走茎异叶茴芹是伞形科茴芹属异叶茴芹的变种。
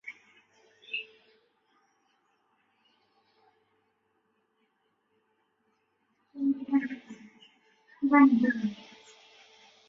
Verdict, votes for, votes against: rejected, 0, 2